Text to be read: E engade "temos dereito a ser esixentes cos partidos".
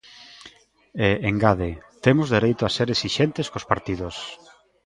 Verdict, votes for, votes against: rejected, 0, 2